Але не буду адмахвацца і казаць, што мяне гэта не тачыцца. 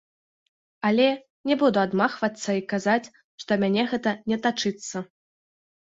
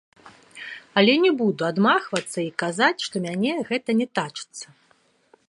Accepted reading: second